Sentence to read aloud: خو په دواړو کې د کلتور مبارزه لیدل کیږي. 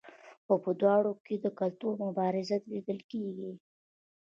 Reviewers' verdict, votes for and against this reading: accepted, 2, 0